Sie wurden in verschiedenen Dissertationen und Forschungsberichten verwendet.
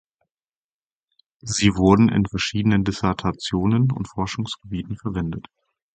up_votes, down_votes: 0, 4